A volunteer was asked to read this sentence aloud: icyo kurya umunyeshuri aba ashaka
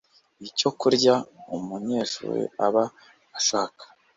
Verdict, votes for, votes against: accepted, 2, 0